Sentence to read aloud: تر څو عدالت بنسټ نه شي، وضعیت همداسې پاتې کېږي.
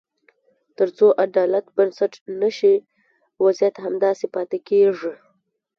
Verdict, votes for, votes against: accepted, 2, 0